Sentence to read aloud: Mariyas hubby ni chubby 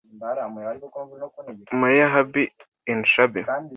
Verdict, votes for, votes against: rejected, 1, 2